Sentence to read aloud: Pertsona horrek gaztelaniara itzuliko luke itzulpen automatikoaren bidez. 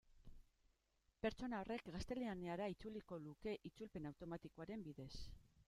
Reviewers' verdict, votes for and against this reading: rejected, 0, 2